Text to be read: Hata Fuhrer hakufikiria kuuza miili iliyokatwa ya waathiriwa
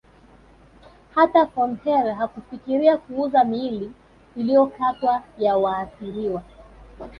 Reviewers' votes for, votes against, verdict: 0, 2, rejected